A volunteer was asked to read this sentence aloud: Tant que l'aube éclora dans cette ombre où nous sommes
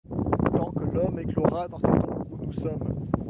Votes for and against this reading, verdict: 0, 2, rejected